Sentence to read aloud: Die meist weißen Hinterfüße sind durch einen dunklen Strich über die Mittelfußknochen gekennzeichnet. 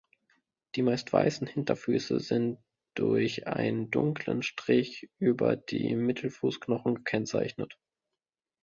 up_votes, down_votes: 2, 0